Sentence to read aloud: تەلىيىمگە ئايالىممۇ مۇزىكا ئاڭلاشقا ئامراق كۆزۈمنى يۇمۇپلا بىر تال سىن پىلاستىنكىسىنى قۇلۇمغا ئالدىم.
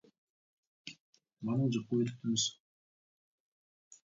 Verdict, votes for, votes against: rejected, 0, 2